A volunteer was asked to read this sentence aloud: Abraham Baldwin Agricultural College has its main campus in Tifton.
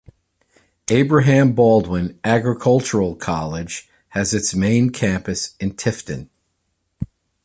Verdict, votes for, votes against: accepted, 2, 0